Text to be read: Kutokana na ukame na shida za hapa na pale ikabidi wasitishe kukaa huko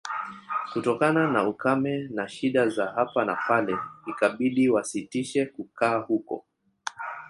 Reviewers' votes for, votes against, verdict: 2, 3, rejected